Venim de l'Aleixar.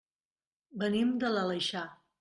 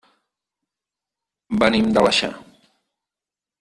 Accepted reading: first